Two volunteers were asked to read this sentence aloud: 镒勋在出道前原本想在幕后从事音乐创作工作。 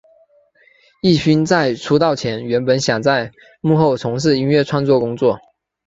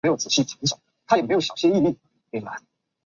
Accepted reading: first